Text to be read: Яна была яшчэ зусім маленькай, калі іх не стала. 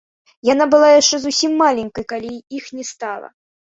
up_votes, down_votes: 1, 2